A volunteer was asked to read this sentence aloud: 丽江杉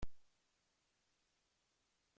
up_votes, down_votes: 0, 2